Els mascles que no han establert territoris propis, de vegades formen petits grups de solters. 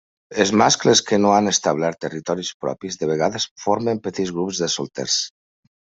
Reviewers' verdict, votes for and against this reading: accepted, 2, 1